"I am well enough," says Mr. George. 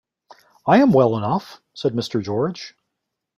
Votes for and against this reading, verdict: 2, 0, accepted